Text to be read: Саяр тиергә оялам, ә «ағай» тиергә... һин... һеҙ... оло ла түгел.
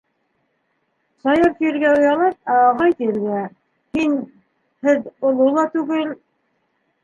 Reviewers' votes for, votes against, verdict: 0, 2, rejected